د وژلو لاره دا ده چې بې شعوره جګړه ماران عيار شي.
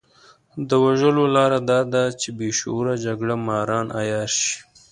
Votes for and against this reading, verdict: 2, 0, accepted